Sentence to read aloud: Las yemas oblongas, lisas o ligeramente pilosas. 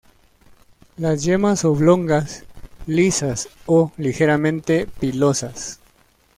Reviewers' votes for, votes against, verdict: 2, 0, accepted